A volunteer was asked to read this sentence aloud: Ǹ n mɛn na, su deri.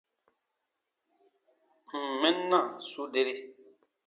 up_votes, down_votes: 2, 0